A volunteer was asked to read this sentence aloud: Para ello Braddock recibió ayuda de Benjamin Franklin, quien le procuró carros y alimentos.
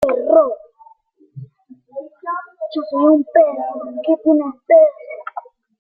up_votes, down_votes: 0, 2